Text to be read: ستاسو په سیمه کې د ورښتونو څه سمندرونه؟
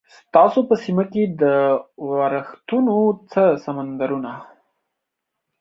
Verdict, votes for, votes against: accepted, 2, 0